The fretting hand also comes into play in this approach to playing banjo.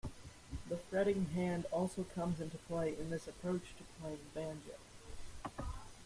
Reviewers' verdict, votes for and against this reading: rejected, 1, 2